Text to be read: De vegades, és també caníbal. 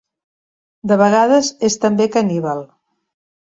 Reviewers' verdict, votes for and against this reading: accepted, 3, 0